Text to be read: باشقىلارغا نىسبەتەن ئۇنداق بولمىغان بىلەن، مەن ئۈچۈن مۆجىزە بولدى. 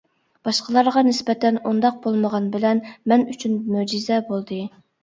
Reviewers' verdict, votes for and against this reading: accepted, 2, 0